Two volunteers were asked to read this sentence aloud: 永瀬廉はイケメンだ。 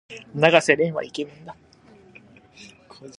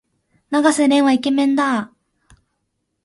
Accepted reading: second